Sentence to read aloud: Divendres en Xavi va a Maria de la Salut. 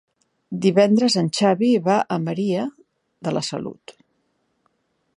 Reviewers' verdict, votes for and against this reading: accepted, 3, 0